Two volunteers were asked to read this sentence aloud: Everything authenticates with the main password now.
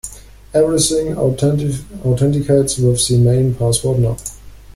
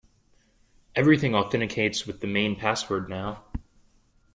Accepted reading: second